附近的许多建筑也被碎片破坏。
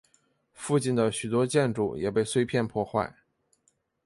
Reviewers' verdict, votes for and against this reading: accepted, 2, 0